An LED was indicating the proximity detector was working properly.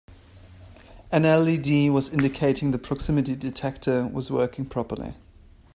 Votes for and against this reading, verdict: 3, 0, accepted